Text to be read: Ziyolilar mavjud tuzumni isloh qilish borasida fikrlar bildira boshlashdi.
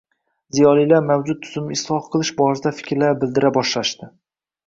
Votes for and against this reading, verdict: 2, 0, accepted